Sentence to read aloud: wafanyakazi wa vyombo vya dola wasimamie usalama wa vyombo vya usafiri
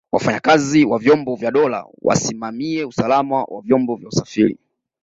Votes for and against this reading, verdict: 2, 0, accepted